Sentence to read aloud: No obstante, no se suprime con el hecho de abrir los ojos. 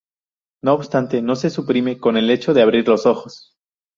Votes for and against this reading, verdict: 0, 2, rejected